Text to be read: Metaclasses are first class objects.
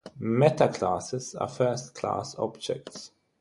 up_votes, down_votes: 6, 0